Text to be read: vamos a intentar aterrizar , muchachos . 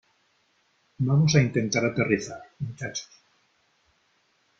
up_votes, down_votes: 1, 2